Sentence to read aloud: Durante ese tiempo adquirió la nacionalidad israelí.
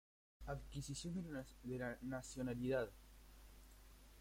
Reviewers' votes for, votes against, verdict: 0, 2, rejected